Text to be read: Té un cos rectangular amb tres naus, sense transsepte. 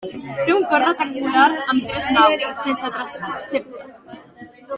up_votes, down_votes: 2, 1